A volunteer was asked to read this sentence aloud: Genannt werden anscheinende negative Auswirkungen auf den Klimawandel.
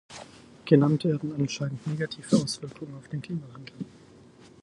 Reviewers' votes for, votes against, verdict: 0, 4, rejected